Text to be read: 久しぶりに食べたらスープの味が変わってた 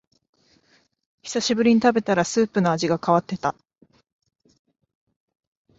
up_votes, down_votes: 2, 0